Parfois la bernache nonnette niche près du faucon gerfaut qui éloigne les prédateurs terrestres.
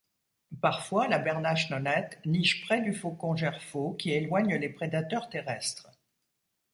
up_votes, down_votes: 2, 0